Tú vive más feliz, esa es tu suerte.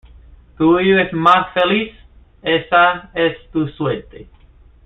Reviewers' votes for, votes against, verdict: 1, 2, rejected